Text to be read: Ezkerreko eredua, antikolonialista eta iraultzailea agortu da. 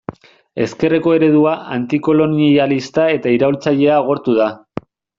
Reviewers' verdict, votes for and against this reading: rejected, 1, 2